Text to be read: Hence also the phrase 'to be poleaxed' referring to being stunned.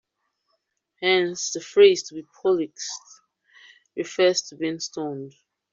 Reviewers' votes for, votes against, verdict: 0, 2, rejected